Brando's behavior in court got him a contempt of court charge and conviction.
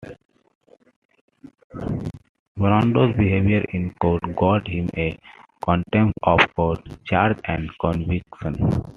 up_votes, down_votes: 2, 0